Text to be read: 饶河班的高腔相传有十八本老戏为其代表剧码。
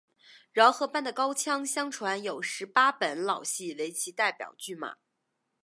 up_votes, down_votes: 4, 0